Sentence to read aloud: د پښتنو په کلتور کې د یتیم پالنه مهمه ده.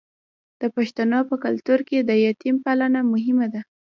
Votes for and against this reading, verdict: 1, 2, rejected